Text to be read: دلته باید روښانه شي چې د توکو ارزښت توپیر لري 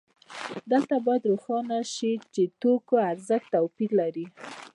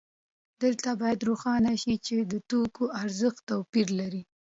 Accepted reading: second